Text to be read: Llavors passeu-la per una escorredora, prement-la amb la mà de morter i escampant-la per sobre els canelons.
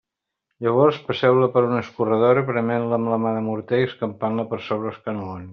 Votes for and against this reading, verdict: 1, 2, rejected